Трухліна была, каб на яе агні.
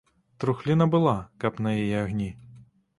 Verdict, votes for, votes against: accepted, 2, 0